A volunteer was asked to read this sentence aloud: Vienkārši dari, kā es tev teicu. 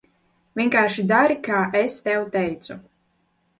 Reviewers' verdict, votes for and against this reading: accepted, 2, 0